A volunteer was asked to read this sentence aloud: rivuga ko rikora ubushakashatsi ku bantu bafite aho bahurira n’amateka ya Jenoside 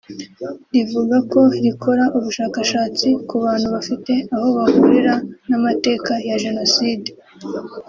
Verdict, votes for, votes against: accepted, 4, 2